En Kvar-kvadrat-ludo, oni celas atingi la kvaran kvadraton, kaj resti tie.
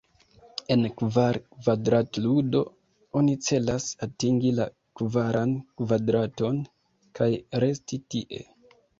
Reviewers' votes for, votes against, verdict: 2, 0, accepted